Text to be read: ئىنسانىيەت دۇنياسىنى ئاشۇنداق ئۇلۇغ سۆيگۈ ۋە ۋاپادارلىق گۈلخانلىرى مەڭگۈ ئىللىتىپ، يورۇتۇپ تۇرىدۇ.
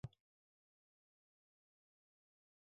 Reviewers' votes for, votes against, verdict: 0, 2, rejected